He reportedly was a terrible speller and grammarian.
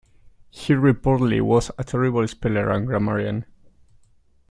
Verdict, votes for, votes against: accepted, 2, 0